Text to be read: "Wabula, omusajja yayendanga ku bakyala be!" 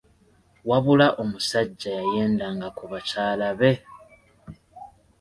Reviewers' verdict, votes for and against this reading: rejected, 1, 2